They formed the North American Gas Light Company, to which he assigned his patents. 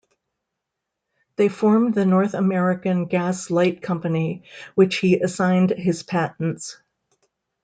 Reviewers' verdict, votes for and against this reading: rejected, 0, 2